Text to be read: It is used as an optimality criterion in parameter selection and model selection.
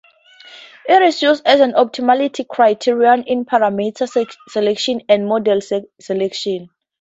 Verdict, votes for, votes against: rejected, 0, 4